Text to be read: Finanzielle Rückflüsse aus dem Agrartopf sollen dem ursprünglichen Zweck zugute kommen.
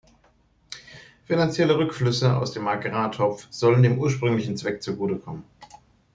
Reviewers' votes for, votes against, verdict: 2, 0, accepted